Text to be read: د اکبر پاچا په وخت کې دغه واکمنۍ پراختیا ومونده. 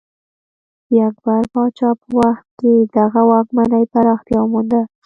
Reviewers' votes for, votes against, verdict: 2, 0, accepted